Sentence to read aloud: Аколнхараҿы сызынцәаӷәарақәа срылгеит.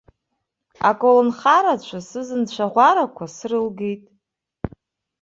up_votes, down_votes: 0, 2